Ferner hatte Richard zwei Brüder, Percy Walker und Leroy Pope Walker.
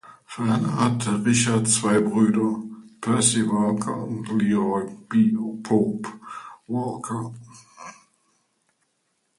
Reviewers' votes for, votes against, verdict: 0, 2, rejected